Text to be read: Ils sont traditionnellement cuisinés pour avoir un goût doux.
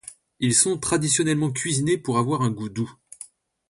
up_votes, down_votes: 2, 0